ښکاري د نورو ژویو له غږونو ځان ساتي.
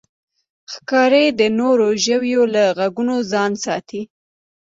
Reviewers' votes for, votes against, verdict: 3, 0, accepted